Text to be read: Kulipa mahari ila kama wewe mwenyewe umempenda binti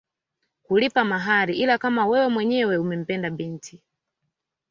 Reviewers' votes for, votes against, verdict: 2, 0, accepted